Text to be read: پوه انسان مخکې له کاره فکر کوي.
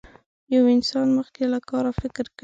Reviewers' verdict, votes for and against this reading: rejected, 0, 2